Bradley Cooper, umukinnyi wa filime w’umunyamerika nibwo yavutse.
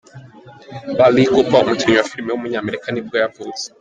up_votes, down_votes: 2, 1